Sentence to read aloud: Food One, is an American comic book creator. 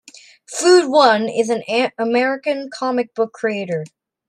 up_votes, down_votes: 1, 2